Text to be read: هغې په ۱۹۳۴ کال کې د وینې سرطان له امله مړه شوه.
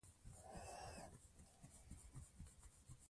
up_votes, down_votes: 0, 2